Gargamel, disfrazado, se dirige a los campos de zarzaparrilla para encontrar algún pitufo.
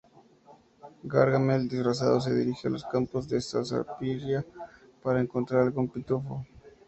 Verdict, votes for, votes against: accepted, 2, 0